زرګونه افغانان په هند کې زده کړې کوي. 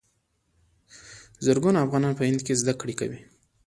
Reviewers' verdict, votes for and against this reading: accepted, 2, 1